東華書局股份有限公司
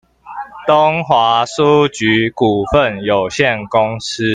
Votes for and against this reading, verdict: 1, 2, rejected